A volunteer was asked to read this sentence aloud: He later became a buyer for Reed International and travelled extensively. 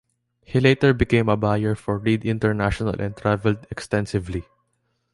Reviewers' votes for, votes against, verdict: 2, 0, accepted